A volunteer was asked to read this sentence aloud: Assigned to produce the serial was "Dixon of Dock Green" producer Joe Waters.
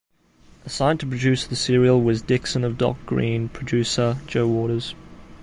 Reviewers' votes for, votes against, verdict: 2, 0, accepted